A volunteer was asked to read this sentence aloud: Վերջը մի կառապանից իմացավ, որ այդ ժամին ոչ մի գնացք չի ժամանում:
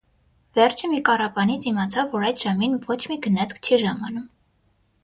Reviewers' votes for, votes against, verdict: 6, 0, accepted